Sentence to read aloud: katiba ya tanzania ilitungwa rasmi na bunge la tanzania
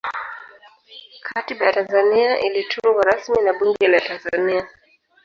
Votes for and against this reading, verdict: 0, 2, rejected